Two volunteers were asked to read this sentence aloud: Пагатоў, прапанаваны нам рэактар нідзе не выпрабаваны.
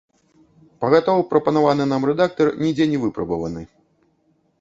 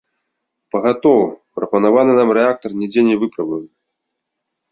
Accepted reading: second